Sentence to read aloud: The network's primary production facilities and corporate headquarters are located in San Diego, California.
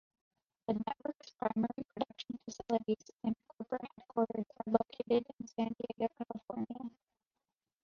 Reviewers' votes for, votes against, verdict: 1, 2, rejected